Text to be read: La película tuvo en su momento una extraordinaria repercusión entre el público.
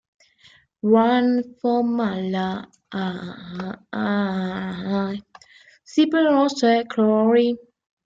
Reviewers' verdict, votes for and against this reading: rejected, 0, 2